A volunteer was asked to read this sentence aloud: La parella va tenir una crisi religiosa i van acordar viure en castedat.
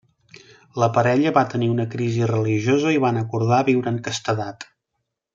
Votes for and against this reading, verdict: 3, 0, accepted